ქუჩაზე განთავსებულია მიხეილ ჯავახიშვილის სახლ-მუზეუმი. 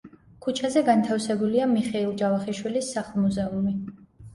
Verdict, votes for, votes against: accepted, 2, 0